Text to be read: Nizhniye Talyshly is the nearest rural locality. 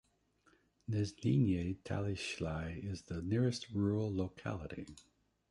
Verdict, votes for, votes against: rejected, 0, 2